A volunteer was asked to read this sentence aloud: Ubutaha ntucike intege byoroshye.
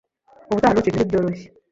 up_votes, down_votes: 0, 2